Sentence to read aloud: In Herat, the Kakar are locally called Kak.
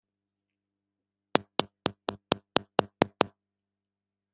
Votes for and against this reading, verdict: 0, 2, rejected